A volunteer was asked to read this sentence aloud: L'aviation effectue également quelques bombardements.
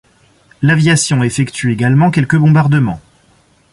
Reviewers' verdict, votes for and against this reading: accepted, 2, 0